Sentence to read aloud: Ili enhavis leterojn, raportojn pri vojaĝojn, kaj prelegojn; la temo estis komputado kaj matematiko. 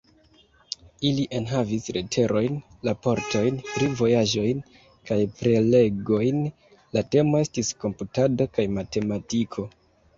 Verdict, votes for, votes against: accepted, 2, 1